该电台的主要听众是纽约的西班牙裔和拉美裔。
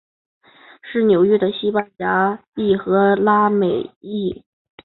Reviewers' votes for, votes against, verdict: 2, 1, accepted